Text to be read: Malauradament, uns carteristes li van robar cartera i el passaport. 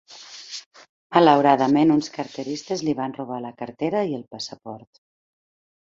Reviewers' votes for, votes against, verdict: 0, 2, rejected